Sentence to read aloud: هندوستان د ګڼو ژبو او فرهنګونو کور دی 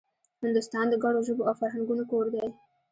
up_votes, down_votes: 0, 2